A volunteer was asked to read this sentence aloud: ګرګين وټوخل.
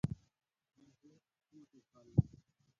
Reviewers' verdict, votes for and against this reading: rejected, 0, 2